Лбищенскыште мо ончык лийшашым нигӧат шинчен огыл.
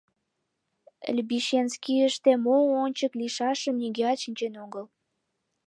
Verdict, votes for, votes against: rejected, 1, 2